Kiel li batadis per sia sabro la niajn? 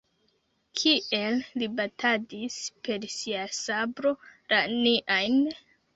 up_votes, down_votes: 0, 2